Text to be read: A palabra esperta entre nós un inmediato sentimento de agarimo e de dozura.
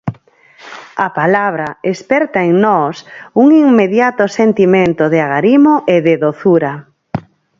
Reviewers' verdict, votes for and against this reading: rejected, 0, 4